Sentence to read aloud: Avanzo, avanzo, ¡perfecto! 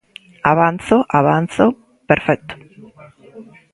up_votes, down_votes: 1, 2